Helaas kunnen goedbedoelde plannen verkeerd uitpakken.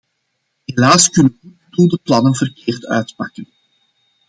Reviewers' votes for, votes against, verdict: 0, 2, rejected